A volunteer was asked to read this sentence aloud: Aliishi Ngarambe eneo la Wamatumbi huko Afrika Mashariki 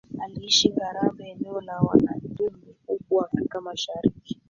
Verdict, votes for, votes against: accepted, 2, 1